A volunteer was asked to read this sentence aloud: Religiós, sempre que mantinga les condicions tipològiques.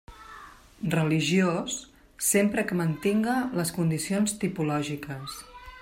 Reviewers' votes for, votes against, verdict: 3, 0, accepted